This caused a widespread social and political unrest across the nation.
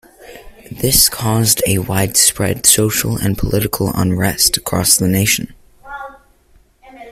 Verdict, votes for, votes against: rejected, 0, 2